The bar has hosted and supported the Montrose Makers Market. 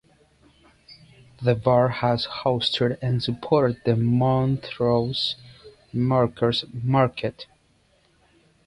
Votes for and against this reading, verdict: 0, 2, rejected